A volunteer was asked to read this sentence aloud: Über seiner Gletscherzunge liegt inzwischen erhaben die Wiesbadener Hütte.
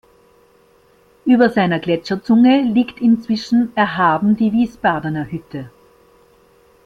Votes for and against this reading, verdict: 2, 0, accepted